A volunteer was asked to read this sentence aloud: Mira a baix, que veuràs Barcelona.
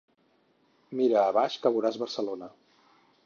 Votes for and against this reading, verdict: 4, 0, accepted